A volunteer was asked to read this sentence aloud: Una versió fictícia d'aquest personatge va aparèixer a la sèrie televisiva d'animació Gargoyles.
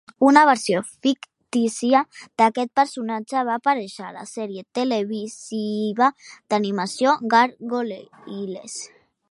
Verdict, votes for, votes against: rejected, 1, 2